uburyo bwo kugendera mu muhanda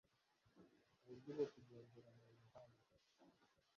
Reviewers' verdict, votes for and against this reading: rejected, 1, 2